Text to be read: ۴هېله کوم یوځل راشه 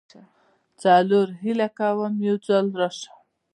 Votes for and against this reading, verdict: 0, 2, rejected